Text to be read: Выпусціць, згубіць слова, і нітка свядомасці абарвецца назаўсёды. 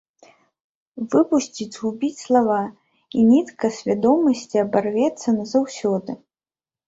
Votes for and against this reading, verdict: 1, 2, rejected